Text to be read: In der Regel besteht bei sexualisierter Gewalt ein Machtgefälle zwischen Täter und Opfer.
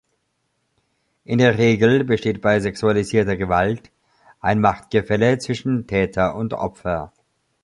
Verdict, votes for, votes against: accepted, 2, 0